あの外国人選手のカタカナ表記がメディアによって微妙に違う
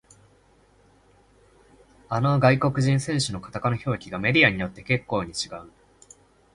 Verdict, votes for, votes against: rejected, 0, 2